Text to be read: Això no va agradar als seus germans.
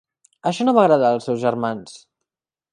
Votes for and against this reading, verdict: 8, 0, accepted